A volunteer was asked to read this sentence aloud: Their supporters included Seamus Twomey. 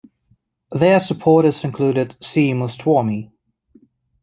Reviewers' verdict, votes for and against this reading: rejected, 0, 2